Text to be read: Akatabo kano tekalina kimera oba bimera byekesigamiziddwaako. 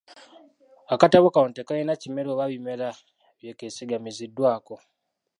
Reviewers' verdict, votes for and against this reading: rejected, 0, 2